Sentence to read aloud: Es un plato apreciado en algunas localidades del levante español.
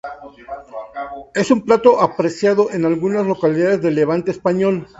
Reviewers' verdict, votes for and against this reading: accepted, 2, 0